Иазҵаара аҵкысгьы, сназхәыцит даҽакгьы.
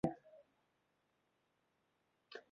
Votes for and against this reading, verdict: 0, 2, rejected